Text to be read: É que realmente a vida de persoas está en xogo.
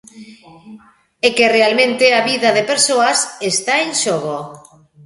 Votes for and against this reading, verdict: 0, 2, rejected